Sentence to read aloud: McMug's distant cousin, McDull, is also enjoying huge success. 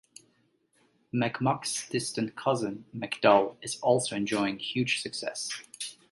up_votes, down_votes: 2, 0